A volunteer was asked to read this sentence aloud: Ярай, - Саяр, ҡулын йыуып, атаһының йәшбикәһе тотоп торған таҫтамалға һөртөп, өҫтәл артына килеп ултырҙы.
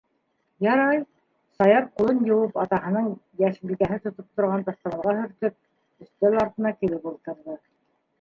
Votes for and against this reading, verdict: 0, 2, rejected